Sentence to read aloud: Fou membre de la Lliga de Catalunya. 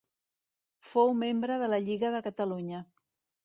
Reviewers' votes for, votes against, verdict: 2, 0, accepted